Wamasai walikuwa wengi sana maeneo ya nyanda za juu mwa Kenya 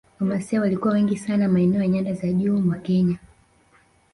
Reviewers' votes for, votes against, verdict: 0, 2, rejected